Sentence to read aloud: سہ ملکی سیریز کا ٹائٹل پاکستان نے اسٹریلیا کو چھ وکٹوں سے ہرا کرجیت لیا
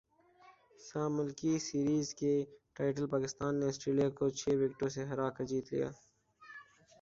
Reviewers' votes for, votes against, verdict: 1, 2, rejected